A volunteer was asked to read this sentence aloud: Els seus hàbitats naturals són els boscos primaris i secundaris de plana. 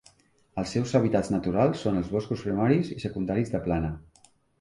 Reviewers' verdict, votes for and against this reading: accepted, 2, 0